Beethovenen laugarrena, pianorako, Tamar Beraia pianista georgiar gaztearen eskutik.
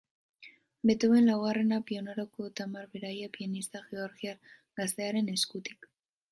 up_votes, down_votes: 2, 2